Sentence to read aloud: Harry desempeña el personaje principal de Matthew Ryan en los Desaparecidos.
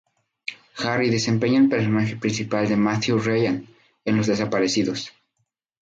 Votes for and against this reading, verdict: 0, 2, rejected